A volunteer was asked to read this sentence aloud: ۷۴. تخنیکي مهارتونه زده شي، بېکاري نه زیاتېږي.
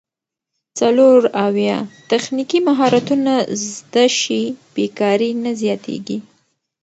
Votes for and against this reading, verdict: 0, 2, rejected